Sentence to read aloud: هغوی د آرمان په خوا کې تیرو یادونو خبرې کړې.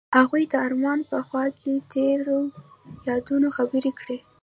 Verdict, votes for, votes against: rejected, 0, 2